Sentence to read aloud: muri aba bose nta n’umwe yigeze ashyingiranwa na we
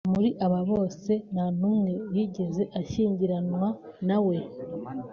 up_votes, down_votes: 2, 0